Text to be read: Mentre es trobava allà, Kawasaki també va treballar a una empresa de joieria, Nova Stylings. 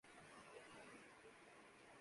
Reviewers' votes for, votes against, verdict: 0, 2, rejected